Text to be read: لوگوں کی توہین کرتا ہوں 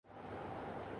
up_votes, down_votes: 0, 2